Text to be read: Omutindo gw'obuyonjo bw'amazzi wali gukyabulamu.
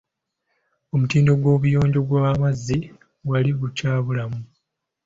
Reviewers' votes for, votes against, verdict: 3, 0, accepted